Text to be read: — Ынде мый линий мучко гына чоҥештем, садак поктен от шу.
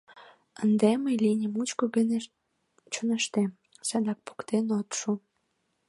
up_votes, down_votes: 0, 2